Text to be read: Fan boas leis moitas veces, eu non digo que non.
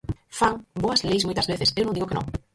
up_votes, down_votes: 0, 4